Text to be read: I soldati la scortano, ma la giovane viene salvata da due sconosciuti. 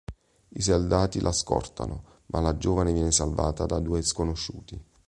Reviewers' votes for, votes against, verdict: 2, 1, accepted